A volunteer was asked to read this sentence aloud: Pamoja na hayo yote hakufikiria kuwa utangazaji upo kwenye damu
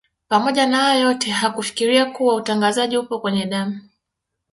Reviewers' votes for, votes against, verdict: 2, 0, accepted